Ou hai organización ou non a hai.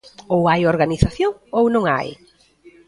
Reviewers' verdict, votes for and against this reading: rejected, 0, 2